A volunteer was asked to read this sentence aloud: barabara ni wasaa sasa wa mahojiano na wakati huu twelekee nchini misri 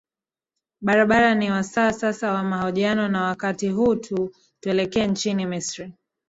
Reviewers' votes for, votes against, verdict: 0, 2, rejected